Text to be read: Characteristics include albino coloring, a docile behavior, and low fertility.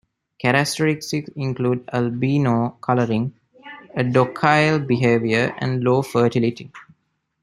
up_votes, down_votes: 1, 2